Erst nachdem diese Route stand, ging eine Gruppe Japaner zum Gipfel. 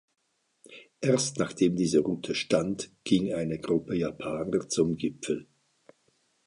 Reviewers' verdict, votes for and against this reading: accepted, 2, 0